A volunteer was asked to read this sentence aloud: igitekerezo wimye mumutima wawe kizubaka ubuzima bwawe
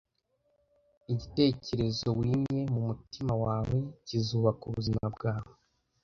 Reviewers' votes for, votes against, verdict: 2, 0, accepted